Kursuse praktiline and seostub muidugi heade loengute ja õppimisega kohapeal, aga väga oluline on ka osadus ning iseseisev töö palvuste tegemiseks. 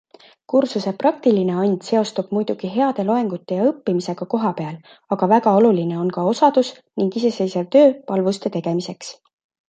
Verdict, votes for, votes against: accepted, 2, 0